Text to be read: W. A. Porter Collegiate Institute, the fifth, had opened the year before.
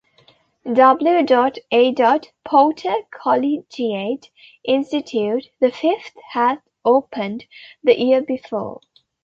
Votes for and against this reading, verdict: 2, 1, accepted